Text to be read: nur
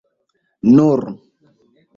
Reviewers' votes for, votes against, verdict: 2, 0, accepted